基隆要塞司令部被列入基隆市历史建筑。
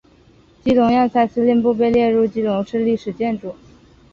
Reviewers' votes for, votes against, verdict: 3, 0, accepted